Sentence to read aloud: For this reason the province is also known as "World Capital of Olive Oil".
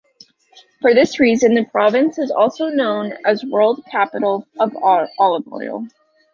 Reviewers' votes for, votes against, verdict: 2, 1, accepted